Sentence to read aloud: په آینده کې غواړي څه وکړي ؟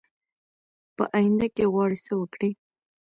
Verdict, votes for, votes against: accepted, 2, 1